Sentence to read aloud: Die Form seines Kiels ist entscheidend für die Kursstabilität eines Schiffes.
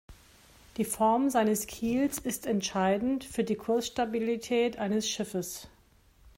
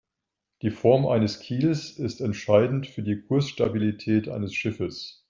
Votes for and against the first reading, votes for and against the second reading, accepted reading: 2, 0, 1, 2, first